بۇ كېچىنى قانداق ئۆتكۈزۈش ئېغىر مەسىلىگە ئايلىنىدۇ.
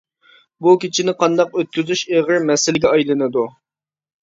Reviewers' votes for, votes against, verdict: 2, 0, accepted